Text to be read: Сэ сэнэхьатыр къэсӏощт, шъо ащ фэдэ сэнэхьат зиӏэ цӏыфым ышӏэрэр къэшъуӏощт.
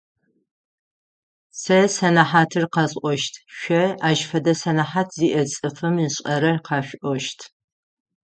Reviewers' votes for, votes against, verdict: 3, 6, rejected